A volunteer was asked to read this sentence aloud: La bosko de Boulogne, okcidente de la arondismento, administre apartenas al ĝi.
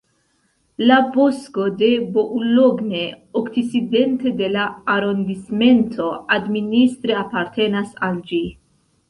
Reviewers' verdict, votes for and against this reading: rejected, 1, 2